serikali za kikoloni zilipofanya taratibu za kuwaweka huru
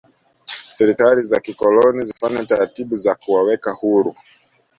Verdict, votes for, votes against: accepted, 2, 0